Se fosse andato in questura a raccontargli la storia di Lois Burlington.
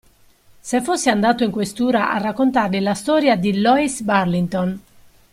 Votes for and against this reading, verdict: 1, 2, rejected